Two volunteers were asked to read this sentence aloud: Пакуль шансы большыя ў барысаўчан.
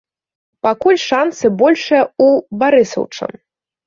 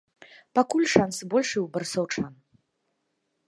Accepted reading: second